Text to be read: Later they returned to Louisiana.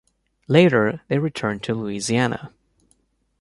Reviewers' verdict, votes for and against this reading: accepted, 2, 0